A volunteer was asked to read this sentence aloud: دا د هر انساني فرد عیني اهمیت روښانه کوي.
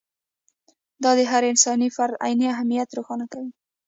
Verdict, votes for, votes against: accepted, 2, 0